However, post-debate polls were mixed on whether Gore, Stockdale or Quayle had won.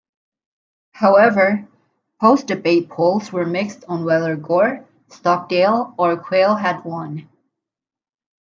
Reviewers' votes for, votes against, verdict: 2, 0, accepted